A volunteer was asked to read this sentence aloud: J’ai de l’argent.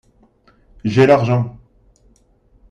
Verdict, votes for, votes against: rejected, 0, 2